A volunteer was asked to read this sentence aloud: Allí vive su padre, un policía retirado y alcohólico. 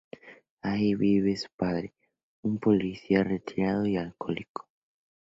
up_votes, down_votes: 2, 0